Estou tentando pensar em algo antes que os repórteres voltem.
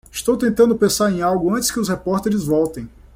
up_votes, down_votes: 2, 0